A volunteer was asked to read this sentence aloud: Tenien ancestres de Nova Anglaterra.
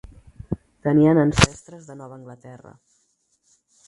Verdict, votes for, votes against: rejected, 2, 4